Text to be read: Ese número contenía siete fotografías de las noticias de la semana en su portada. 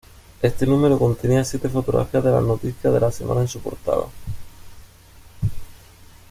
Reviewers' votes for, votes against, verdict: 1, 2, rejected